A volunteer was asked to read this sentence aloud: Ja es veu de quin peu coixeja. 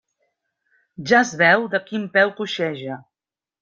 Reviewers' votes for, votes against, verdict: 3, 0, accepted